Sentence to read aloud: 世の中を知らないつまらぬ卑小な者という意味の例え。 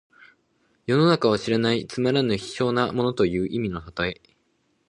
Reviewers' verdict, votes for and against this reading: accepted, 2, 1